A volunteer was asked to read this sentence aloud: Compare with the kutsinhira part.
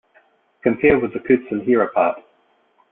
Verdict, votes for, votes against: accepted, 2, 0